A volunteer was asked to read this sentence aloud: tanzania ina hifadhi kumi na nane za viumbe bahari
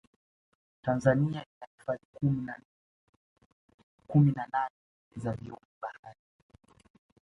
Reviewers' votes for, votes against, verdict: 2, 0, accepted